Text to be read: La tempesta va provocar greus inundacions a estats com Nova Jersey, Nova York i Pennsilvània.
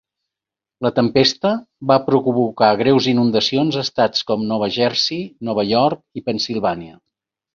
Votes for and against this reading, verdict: 3, 0, accepted